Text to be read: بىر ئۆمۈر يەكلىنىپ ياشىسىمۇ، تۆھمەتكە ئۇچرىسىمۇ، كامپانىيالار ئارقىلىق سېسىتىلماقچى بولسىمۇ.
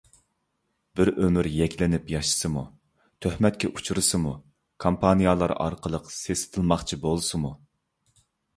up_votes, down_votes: 2, 0